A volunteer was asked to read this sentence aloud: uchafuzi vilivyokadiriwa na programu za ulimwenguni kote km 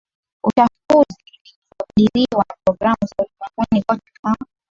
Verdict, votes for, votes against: rejected, 0, 2